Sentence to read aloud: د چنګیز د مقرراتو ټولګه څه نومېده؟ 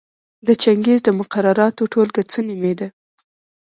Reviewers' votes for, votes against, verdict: 0, 2, rejected